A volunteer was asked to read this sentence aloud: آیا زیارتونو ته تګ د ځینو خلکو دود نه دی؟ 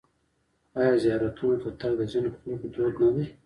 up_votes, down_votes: 1, 2